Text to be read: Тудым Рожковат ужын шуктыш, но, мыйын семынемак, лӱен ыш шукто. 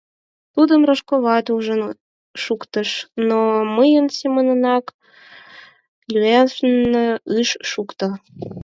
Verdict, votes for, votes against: rejected, 2, 4